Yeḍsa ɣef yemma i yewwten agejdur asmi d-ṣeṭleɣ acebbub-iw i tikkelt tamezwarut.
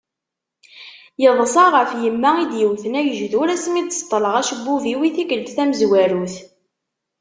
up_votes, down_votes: 2, 0